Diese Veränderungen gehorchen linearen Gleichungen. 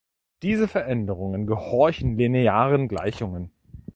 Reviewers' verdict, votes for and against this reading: accepted, 2, 0